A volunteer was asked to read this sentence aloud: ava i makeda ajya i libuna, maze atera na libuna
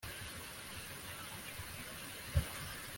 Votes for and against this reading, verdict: 1, 2, rejected